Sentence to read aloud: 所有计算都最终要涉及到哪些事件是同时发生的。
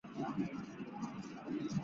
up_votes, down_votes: 1, 2